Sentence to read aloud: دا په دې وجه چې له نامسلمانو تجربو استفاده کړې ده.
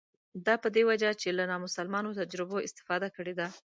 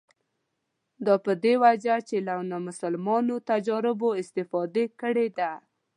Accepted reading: first